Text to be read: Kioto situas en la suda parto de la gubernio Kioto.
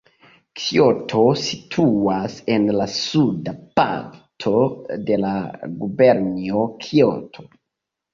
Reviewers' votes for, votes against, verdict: 2, 0, accepted